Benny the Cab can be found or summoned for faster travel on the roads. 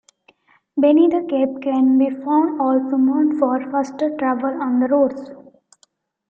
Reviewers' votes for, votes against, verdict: 1, 2, rejected